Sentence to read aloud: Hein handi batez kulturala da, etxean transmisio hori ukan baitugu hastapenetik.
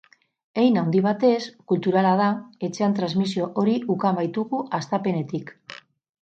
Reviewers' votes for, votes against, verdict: 4, 0, accepted